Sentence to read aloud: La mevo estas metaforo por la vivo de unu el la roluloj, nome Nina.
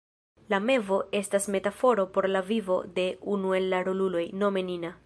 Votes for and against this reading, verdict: 2, 0, accepted